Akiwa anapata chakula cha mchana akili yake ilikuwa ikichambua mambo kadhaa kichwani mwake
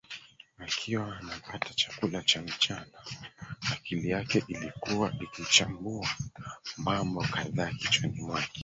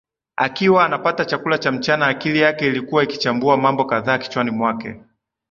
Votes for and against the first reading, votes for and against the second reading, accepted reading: 0, 3, 2, 0, second